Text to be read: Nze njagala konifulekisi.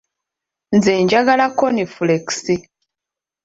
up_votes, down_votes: 1, 2